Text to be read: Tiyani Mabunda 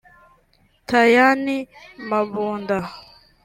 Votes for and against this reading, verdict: 0, 2, rejected